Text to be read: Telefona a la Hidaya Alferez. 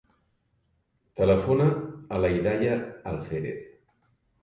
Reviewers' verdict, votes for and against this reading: rejected, 1, 2